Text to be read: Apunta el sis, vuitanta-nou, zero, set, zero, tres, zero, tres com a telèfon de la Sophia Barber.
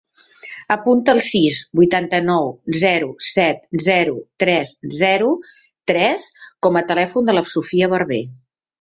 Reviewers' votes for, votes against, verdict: 2, 0, accepted